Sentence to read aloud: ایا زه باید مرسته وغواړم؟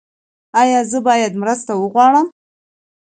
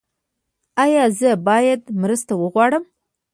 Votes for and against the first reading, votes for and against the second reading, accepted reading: 2, 0, 1, 2, first